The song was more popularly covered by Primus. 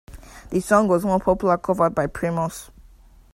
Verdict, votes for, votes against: rejected, 0, 2